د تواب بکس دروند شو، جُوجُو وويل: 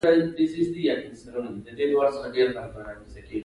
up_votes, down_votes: 2, 0